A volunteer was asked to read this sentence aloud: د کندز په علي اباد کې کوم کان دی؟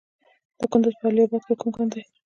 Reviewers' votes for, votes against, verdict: 1, 2, rejected